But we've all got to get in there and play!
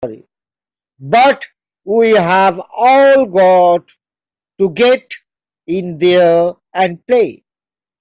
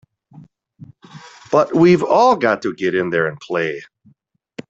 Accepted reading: second